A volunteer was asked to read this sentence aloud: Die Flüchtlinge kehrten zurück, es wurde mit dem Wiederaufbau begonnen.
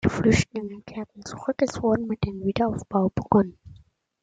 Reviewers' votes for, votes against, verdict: 2, 1, accepted